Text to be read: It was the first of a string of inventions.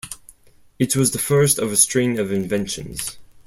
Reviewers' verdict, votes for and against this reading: accepted, 4, 0